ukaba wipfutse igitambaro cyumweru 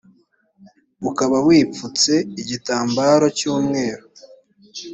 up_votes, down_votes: 2, 0